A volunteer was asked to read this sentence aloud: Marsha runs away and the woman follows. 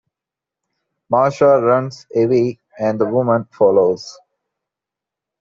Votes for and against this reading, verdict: 2, 0, accepted